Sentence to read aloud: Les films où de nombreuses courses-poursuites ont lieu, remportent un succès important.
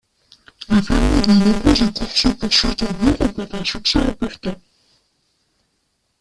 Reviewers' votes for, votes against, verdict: 0, 3, rejected